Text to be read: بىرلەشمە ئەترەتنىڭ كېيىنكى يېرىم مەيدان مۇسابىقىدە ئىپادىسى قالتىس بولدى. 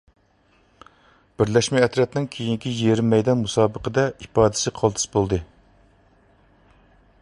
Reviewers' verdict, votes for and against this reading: accepted, 2, 0